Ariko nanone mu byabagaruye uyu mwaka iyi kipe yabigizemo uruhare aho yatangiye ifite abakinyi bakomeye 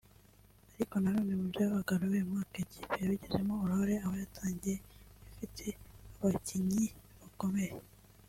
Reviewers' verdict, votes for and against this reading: rejected, 0, 2